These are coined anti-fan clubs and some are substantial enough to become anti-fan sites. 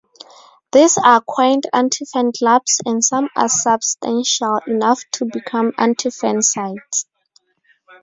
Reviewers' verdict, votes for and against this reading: rejected, 2, 4